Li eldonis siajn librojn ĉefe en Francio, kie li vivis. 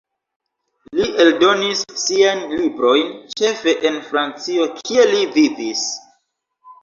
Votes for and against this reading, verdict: 2, 1, accepted